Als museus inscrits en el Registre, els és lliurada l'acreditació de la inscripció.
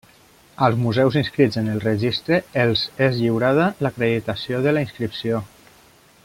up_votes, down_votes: 2, 0